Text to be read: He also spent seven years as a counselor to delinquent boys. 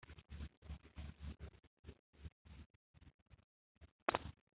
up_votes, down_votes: 0, 2